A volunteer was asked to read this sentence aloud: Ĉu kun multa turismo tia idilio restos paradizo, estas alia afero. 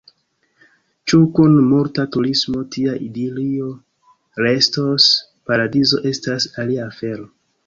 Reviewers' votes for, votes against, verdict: 2, 1, accepted